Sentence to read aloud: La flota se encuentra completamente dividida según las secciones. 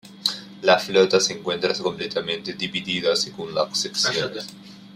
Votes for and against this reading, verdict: 1, 2, rejected